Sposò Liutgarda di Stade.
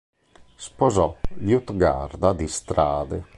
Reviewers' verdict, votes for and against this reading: rejected, 0, 2